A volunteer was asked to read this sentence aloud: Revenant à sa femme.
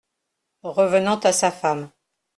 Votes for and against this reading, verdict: 2, 0, accepted